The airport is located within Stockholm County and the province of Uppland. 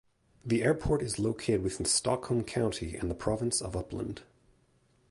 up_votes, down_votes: 0, 2